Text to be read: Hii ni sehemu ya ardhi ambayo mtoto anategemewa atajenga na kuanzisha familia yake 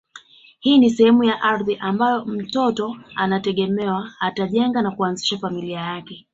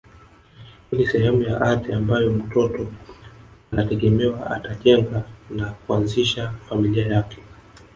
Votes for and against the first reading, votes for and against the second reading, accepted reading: 2, 0, 0, 2, first